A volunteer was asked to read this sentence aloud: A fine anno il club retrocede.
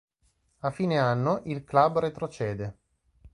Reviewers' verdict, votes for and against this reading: accepted, 2, 0